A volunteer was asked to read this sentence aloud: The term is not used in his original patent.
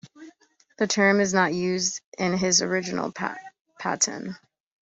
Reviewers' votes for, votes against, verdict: 0, 2, rejected